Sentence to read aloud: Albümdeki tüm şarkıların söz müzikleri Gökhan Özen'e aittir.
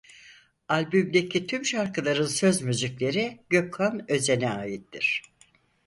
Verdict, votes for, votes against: accepted, 4, 0